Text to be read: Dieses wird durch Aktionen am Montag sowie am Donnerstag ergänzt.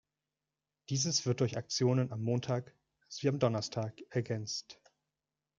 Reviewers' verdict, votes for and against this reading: accepted, 2, 0